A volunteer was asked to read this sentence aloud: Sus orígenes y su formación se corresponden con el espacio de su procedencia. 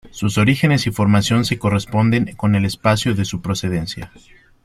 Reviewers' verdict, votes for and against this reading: rejected, 1, 2